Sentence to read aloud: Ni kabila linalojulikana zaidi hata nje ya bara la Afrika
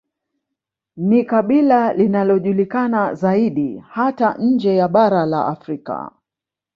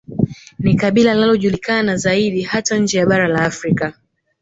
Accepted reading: second